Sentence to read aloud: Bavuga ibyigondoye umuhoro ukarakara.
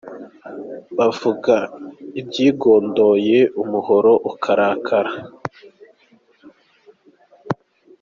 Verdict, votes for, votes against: accepted, 2, 0